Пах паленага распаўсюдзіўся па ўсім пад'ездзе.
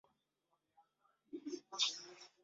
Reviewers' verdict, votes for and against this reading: rejected, 0, 2